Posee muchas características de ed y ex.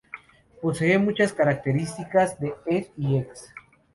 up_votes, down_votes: 2, 0